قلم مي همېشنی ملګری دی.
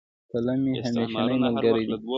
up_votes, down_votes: 1, 2